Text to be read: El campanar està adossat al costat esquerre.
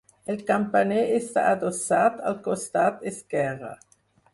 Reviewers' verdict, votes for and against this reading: rejected, 0, 4